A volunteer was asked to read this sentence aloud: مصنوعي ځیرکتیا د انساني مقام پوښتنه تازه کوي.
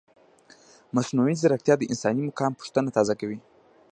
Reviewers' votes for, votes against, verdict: 1, 2, rejected